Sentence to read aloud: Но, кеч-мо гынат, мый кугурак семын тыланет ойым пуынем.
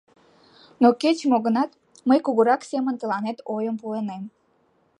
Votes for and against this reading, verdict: 2, 0, accepted